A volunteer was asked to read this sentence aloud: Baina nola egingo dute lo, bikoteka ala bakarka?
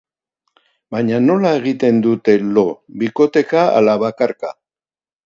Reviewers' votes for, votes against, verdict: 0, 2, rejected